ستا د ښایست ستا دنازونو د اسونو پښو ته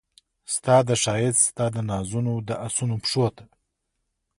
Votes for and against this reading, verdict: 2, 0, accepted